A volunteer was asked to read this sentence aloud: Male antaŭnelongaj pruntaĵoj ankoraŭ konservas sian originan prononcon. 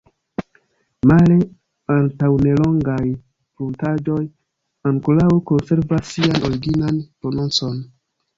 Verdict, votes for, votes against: rejected, 0, 2